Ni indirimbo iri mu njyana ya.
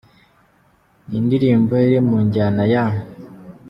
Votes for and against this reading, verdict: 2, 1, accepted